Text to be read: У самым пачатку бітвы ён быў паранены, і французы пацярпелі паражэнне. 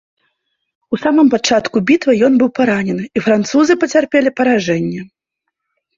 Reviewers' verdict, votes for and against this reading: accepted, 2, 0